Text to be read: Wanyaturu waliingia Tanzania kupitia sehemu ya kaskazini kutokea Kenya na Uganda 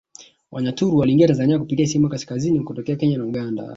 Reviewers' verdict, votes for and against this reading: rejected, 1, 2